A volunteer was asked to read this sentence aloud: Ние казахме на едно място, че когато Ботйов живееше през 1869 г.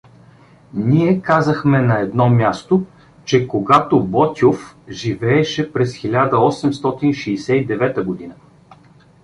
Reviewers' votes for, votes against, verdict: 0, 2, rejected